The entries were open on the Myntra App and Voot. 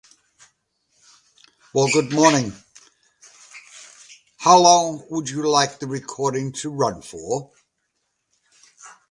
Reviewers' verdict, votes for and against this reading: rejected, 0, 2